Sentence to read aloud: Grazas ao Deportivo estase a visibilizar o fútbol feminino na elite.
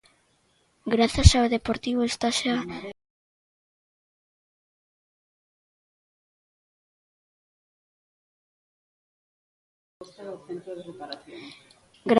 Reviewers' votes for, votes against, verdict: 0, 2, rejected